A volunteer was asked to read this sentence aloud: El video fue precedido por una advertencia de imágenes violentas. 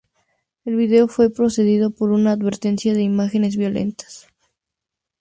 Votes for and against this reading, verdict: 2, 2, rejected